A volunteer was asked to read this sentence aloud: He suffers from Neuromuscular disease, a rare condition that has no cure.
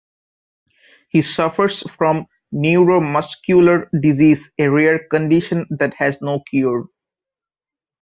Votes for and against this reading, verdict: 2, 1, accepted